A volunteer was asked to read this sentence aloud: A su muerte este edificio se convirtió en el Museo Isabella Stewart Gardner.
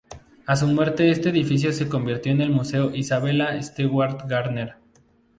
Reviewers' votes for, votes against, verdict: 2, 0, accepted